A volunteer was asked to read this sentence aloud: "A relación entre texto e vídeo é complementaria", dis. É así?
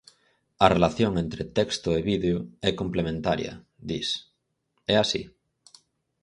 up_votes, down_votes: 4, 0